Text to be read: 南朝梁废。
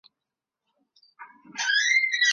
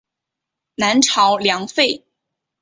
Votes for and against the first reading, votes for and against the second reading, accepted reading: 2, 4, 5, 0, second